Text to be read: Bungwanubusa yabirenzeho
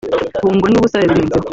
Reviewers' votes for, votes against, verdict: 0, 2, rejected